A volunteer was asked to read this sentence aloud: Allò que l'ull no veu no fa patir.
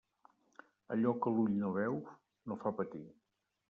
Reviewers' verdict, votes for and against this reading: rejected, 0, 2